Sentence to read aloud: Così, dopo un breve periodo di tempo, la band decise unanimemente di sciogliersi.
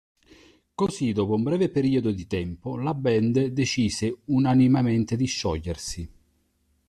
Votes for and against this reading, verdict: 0, 2, rejected